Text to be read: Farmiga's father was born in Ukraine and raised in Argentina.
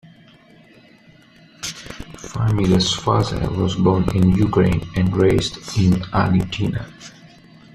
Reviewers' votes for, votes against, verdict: 2, 0, accepted